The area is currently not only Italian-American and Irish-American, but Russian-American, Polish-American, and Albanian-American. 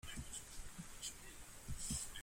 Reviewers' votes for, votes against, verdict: 0, 2, rejected